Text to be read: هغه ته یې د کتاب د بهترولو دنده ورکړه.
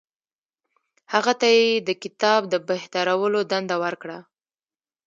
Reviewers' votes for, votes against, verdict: 1, 2, rejected